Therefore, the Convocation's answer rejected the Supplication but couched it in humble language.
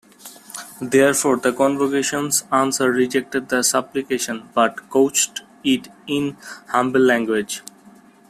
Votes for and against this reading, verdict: 2, 1, accepted